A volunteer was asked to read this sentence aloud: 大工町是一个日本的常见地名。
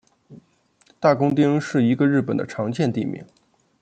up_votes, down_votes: 2, 1